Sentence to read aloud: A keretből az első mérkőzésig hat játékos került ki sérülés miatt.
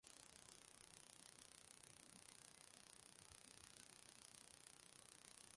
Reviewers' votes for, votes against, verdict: 0, 2, rejected